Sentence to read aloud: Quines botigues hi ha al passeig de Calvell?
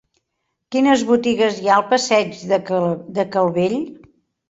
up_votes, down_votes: 0, 2